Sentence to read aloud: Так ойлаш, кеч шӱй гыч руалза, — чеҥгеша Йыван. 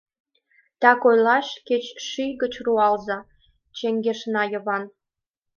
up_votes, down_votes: 1, 2